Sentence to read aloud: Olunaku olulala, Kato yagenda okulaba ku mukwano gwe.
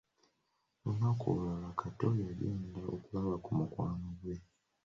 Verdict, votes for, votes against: accepted, 2, 0